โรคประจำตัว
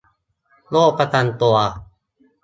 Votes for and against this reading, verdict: 2, 0, accepted